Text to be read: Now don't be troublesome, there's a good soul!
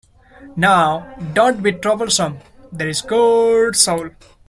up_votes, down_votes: 1, 2